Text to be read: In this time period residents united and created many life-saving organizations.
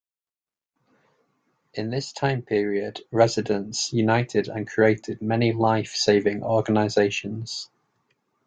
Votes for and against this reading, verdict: 2, 0, accepted